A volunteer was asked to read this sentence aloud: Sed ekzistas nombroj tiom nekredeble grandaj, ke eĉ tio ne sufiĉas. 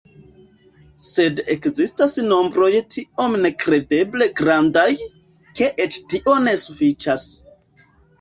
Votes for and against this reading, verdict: 1, 2, rejected